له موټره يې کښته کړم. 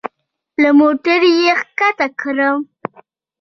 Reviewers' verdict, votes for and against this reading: rejected, 1, 2